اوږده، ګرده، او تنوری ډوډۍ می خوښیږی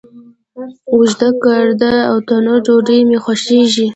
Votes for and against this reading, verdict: 2, 1, accepted